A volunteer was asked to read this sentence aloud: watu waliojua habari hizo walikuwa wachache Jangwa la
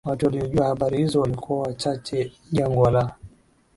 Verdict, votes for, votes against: accepted, 2, 1